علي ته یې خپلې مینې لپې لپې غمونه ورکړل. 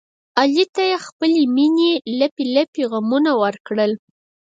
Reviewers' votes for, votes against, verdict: 4, 2, accepted